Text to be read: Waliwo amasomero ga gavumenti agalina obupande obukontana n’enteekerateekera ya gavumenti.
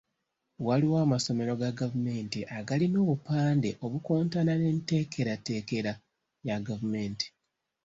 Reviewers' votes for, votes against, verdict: 2, 0, accepted